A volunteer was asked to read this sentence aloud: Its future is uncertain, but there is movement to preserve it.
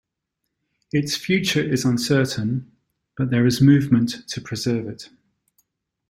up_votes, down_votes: 2, 0